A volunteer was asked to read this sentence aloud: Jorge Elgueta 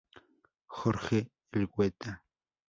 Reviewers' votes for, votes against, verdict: 0, 2, rejected